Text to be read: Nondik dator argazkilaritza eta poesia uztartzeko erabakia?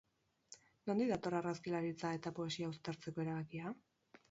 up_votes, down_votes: 4, 0